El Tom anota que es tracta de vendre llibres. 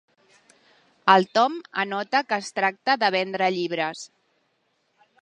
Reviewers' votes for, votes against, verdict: 3, 0, accepted